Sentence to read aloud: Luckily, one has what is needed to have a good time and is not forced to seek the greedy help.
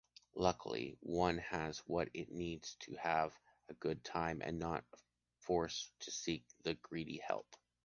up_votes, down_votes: 1, 2